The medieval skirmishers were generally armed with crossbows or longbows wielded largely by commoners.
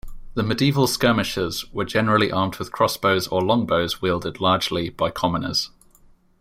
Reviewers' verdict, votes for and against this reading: accepted, 2, 0